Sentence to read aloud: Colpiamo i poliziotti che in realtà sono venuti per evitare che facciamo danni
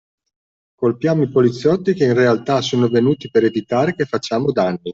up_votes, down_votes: 2, 0